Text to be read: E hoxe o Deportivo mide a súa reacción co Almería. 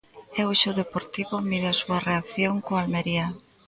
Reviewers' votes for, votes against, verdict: 1, 2, rejected